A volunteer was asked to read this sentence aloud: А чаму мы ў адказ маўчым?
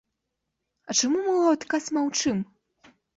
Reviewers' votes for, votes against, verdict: 2, 0, accepted